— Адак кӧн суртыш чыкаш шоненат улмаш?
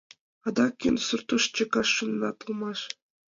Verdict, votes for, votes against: accepted, 2, 1